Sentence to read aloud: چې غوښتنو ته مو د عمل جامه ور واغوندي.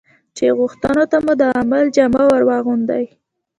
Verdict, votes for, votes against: accepted, 2, 1